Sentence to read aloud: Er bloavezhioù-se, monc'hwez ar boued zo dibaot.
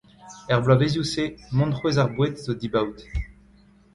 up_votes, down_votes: 0, 2